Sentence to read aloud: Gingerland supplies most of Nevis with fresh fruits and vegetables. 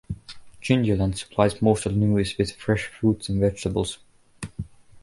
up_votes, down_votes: 0, 2